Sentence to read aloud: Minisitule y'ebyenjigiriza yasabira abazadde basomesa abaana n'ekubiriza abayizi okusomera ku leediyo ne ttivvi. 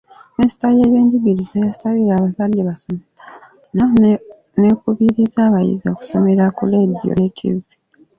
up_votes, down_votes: 1, 2